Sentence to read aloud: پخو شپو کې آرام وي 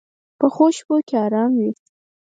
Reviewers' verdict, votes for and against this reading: accepted, 4, 0